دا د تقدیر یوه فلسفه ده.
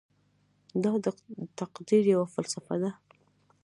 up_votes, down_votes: 2, 0